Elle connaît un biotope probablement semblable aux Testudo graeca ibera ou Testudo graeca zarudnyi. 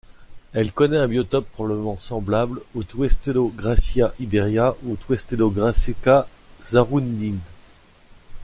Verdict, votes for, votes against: rejected, 0, 2